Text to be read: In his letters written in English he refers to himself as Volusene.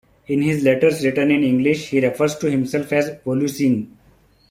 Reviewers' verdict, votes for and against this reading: accepted, 2, 0